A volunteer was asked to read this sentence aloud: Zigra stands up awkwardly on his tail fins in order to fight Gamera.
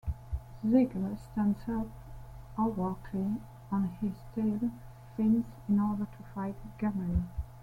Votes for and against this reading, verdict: 0, 2, rejected